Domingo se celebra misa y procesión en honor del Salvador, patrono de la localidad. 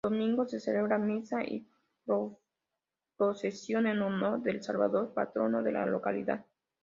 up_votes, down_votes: 2, 3